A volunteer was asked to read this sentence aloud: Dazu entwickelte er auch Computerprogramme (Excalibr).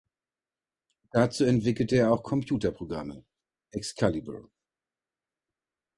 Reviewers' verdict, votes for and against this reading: accepted, 2, 0